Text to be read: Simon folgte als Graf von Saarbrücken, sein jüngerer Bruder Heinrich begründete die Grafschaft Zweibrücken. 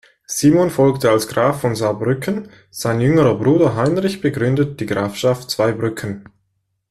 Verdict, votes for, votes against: rejected, 1, 2